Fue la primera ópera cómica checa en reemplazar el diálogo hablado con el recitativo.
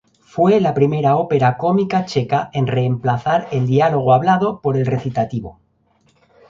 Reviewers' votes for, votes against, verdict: 0, 2, rejected